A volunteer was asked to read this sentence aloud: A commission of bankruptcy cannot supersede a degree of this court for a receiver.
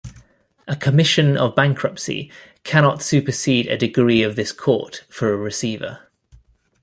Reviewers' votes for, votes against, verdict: 2, 0, accepted